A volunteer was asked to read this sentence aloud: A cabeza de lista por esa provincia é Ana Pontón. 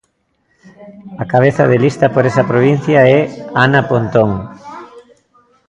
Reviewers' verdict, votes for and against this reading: accepted, 2, 0